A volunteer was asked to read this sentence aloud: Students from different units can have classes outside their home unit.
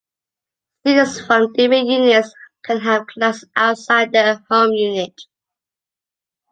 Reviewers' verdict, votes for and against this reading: rejected, 0, 2